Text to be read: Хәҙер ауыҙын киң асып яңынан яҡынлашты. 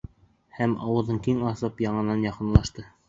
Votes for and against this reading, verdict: 1, 2, rejected